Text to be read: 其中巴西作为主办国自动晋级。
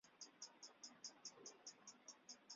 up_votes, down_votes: 0, 2